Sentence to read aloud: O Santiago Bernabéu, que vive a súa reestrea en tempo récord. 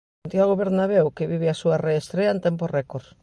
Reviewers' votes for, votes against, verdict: 0, 2, rejected